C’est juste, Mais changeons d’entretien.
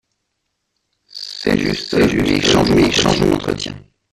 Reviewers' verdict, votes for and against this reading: rejected, 0, 2